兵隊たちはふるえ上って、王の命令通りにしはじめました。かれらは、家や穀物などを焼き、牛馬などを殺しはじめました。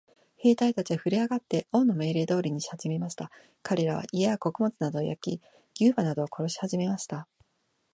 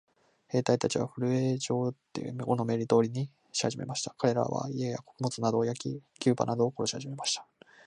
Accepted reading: first